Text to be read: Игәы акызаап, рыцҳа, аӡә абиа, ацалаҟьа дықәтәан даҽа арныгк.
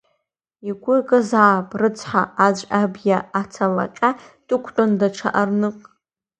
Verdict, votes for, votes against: rejected, 1, 2